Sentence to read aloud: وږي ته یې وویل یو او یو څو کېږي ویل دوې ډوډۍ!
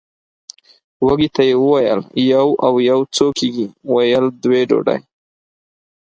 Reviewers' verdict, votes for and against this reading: accepted, 4, 0